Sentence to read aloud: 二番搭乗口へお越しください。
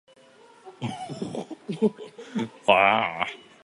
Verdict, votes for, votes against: rejected, 0, 2